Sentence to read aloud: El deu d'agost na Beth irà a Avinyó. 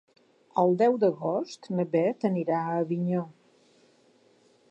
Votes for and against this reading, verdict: 0, 2, rejected